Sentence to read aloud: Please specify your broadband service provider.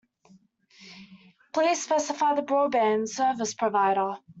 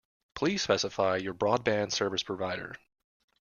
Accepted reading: second